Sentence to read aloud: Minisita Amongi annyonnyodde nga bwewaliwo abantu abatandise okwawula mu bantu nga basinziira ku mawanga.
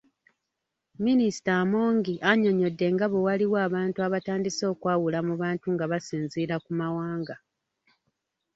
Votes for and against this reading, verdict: 3, 0, accepted